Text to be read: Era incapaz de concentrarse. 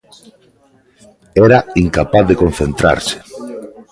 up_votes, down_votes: 2, 1